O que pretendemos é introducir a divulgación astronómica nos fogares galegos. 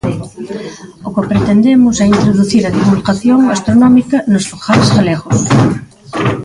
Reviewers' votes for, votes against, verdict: 0, 2, rejected